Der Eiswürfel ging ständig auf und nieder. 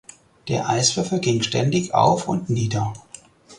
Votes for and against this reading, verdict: 4, 0, accepted